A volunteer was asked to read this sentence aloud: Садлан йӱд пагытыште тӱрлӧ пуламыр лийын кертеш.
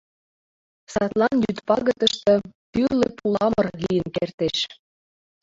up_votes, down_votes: 2, 0